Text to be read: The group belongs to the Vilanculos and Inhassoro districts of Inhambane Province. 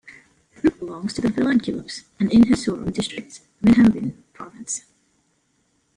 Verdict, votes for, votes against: rejected, 0, 2